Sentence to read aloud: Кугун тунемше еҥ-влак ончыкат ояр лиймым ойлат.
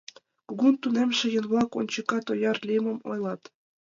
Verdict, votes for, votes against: accepted, 2, 0